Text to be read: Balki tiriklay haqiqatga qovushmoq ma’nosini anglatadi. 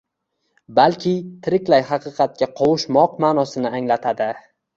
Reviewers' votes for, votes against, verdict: 2, 0, accepted